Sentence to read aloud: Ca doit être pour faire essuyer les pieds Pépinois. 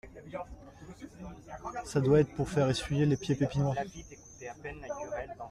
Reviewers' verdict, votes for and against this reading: accepted, 2, 0